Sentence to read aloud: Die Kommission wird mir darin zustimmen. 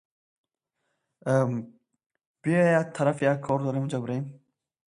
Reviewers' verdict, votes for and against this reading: rejected, 0, 2